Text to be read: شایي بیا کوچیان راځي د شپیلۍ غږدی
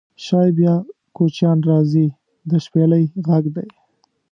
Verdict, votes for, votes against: accepted, 2, 0